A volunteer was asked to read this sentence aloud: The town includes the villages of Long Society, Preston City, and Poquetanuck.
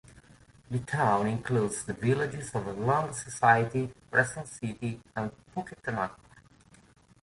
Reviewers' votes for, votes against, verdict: 2, 0, accepted